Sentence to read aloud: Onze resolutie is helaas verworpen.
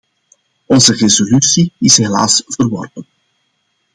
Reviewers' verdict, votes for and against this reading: accepted, 2, 0